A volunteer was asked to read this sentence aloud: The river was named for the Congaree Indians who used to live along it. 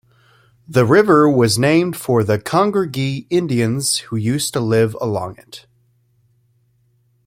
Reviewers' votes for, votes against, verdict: 1, 2, rejected